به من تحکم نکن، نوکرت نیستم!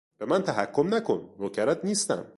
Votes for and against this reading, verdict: 2, 0, accepted